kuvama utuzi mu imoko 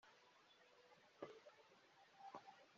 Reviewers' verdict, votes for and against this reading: rejected, 0, 3